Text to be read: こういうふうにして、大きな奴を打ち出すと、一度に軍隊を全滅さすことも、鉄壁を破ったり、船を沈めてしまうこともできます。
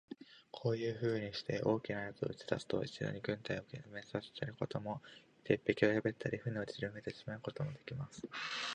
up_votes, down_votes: 3, 4